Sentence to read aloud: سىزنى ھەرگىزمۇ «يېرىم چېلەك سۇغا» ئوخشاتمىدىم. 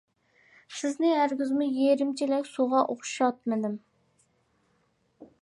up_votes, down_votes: 2, 0